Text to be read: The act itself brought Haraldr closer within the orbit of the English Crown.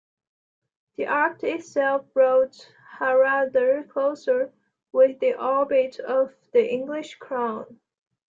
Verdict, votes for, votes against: accepted, 2, 1